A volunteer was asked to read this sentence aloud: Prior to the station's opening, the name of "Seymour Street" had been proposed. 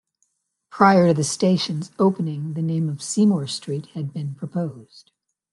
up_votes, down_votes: 1, 2